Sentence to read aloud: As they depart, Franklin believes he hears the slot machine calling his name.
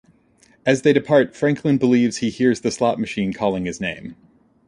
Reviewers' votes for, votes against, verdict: 2, 0, accepted